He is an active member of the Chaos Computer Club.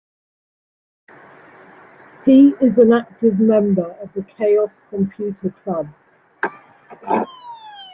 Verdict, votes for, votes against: rejected, 1, 2